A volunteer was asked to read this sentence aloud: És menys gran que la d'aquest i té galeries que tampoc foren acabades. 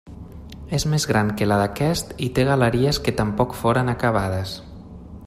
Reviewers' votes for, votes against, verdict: 1, 2, rejected